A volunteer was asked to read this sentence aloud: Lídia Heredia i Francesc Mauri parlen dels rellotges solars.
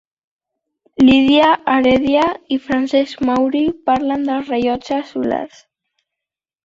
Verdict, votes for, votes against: accepted, 3, 1